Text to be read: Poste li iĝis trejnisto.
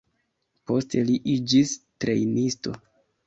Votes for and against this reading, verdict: 2, 0, accepted